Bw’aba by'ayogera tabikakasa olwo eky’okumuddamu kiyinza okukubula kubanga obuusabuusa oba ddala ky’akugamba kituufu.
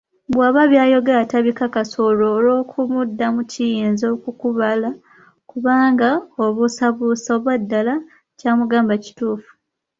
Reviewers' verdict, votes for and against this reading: rejected, 0, 2